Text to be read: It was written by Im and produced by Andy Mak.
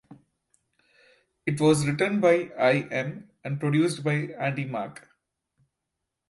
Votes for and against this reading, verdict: 0, 2, rejected